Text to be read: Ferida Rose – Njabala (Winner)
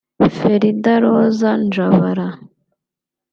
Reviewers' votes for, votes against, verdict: 0, 2, rejected